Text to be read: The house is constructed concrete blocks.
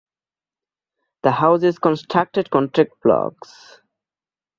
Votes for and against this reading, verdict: 0, 2, rejected